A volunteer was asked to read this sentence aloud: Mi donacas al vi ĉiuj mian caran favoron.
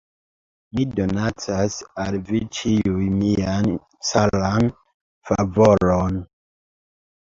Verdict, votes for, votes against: accepted, 3, 2